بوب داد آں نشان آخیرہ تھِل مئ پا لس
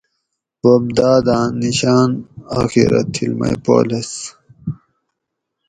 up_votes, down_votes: 0, 2